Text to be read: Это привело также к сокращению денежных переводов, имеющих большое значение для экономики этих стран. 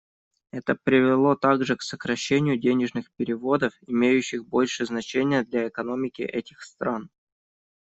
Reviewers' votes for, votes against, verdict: 0, 2, rejected